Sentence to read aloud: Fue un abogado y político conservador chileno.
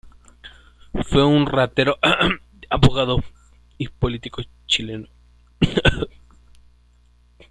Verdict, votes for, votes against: rejected, 1, 2